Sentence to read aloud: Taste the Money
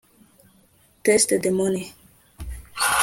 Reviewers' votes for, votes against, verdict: 0, 2, rejected